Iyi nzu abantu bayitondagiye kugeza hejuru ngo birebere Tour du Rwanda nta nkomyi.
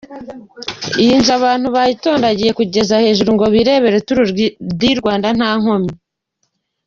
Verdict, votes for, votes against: rejected, 0, 2